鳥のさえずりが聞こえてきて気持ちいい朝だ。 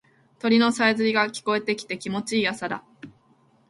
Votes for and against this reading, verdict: 2, 0, accepted